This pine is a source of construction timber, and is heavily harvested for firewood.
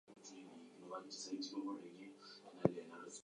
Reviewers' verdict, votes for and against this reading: rejected, 0, 4